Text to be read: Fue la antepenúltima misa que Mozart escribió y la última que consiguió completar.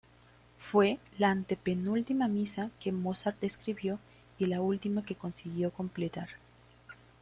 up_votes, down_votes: 2, 0